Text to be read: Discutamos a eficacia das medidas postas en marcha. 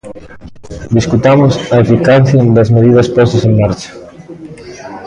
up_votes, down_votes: 1, 2